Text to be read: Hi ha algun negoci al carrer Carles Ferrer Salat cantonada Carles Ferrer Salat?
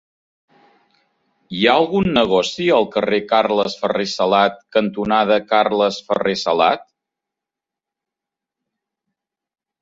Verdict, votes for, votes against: accepted, 4, 0